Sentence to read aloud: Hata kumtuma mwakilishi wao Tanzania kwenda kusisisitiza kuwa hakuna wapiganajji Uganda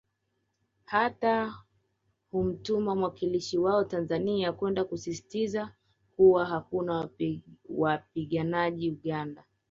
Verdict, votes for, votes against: rejected, 1, 2